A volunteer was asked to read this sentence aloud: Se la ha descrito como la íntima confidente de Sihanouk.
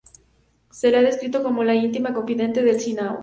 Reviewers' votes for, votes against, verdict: 2, 2, rejected